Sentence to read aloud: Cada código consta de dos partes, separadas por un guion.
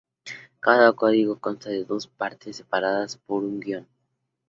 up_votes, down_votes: 2, 0